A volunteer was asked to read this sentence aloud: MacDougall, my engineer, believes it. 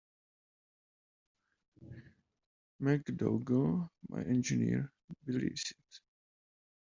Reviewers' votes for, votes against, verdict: 2, 0, accepted